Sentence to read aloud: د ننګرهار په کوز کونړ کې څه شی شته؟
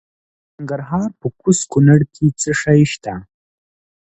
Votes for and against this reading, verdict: 2, 0, accepted